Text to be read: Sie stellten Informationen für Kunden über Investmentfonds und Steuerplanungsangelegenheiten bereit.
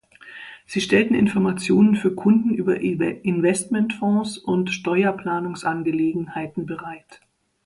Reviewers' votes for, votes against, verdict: 0, 2, rejected